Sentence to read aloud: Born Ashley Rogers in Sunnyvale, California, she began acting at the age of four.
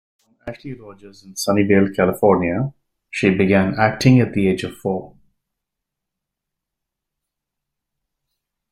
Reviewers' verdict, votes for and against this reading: rejected, 0, 2